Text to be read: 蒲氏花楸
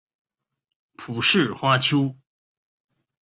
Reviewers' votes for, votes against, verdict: 8, 0, accepted